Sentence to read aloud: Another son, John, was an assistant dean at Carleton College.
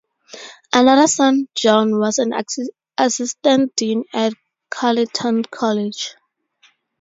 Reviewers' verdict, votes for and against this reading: rejected, 0, 2